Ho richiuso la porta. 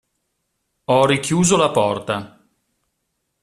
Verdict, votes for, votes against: accepted, 2, 0